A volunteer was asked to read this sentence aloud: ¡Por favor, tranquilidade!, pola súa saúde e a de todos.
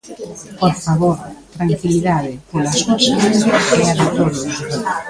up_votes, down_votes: 0, 2